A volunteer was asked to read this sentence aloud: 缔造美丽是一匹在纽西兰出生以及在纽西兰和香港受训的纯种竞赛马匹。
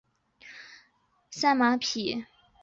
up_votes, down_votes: 0, 3